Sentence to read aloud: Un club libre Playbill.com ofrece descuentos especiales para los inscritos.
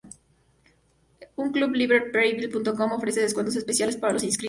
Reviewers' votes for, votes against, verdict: 0, 2, rejected